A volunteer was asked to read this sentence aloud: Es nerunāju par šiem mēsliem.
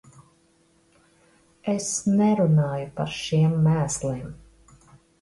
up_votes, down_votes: 1, 2